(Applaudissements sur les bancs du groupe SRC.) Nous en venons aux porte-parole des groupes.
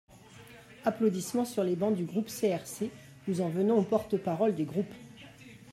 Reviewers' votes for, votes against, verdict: 0, 2, rejected